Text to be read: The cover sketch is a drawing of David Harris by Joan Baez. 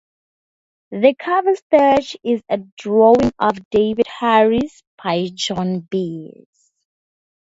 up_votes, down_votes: 2, 0